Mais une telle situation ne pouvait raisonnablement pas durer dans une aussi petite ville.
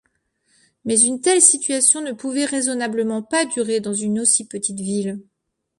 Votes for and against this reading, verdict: 2, 0, accepted